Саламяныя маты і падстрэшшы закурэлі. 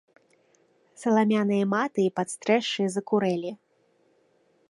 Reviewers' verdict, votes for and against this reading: accepted, 2, 0